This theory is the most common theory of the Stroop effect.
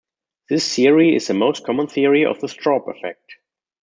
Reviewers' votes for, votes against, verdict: 0, 2, rejected